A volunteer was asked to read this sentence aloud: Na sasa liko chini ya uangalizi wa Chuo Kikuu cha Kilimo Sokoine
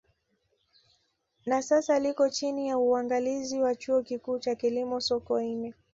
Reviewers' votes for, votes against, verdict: 2, 0, accepted